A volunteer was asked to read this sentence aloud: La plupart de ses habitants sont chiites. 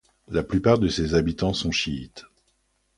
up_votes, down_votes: 2, 0